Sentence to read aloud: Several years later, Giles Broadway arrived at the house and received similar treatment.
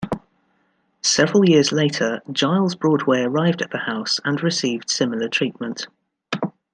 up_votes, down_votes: 2, 0